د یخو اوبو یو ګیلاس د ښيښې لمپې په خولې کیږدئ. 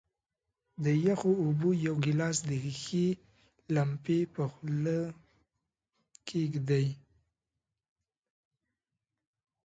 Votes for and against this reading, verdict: 2, 0, accepted